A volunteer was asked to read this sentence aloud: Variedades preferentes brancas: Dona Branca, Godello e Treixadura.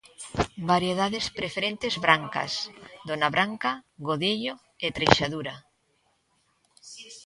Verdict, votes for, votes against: accepted, 2, 1